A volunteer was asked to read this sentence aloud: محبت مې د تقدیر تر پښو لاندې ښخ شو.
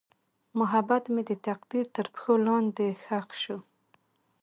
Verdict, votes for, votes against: accepted, 2, 0